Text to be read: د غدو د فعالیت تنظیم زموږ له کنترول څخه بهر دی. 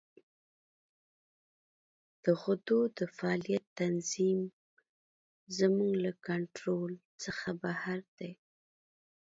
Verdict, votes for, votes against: accepted, 2, 0